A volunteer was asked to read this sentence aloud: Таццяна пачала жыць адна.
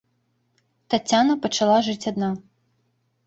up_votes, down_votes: 2, 0